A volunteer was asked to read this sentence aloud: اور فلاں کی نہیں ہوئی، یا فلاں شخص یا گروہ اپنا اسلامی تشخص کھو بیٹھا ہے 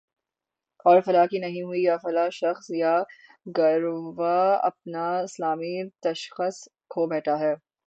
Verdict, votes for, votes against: rejected, 0, 3